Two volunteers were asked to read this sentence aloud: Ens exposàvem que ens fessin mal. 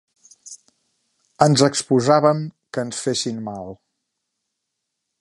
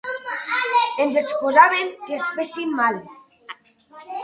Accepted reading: first